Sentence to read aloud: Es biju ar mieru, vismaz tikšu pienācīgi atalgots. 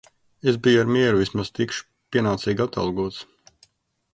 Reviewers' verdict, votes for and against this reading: accepted, 2, 0